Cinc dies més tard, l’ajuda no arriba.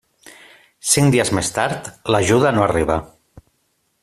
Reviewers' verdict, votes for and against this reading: accepted, 3, 0